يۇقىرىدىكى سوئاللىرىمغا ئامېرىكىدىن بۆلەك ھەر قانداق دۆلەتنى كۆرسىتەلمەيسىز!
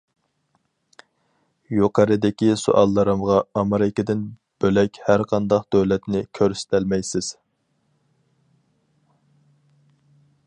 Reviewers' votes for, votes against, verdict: 4, 0, accepted